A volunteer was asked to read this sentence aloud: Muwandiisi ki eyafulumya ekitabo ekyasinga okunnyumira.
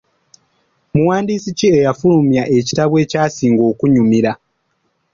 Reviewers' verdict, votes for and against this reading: accepted, 2, 0